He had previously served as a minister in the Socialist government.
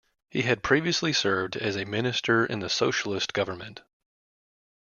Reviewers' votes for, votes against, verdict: 2, 1, accepted